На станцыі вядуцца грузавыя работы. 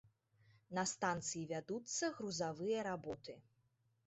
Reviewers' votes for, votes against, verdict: 3, 0, accepted